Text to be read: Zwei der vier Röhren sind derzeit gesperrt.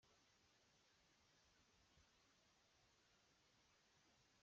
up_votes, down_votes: 0, 2